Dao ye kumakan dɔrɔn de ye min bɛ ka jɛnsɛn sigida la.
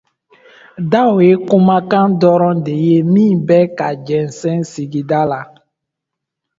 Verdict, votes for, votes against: accepted, 2, 0